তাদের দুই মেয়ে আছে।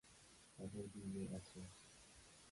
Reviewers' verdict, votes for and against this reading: rejected, 1, 7